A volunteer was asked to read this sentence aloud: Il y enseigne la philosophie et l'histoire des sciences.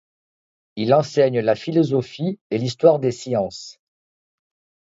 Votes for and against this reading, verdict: 1, 2, rejected